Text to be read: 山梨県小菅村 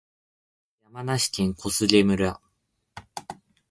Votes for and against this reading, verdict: 4, 0, accepted